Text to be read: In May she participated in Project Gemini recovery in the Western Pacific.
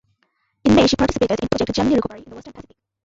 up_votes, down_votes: 0, 2